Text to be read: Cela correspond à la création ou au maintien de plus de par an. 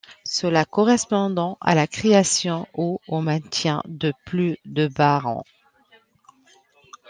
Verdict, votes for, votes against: rejected, 0, 2